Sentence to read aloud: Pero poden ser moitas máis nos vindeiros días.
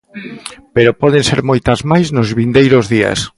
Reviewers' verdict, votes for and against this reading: rejected, 0, 2